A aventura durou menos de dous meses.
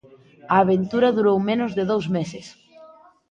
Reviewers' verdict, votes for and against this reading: rejected, 1, 2